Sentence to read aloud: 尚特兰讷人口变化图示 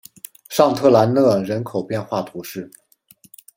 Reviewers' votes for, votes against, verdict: 2, 0, accepted